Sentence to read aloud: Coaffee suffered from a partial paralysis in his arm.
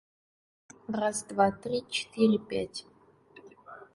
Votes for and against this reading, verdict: 0, 2, rejected